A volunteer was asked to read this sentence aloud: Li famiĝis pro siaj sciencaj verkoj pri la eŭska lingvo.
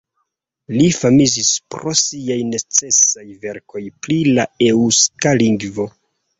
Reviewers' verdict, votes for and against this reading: rejected, 0, 2